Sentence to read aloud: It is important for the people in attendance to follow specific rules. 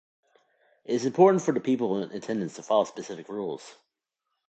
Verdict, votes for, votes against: rejected, 0, 2